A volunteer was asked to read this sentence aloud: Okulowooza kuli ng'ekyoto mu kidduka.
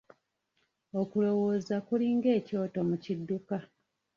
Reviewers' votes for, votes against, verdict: 1, 2, rejected